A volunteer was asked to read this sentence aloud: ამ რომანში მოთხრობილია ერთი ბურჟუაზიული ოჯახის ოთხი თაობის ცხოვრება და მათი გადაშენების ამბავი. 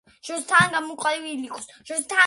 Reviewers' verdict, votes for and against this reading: rejected, 0, 2